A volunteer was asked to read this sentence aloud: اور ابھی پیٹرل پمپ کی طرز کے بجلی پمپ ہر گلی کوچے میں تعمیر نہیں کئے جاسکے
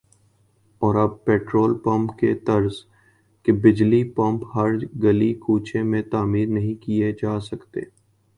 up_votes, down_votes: 2, 0